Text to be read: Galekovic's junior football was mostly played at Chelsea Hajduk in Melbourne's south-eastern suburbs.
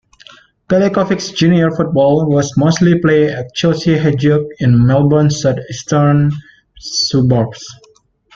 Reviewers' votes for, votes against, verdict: 1, 2, rejected